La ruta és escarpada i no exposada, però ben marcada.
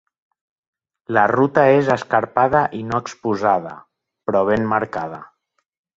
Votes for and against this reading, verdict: 5, 0, accepted